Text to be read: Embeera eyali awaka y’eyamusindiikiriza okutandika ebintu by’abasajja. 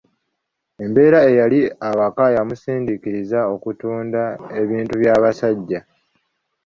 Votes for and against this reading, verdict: 0, 3, rejected